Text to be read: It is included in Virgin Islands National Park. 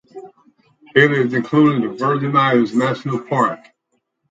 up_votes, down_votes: 2, 4